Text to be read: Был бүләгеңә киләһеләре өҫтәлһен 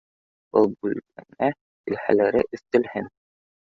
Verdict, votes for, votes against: rejected, 0, 2